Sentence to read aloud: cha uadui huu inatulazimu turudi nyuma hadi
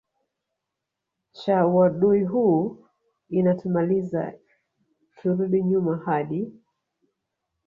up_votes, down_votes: 2, 0